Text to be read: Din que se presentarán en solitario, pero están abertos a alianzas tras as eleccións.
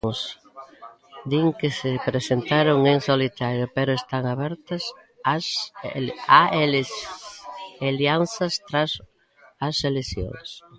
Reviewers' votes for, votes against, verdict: 0, 2, rejected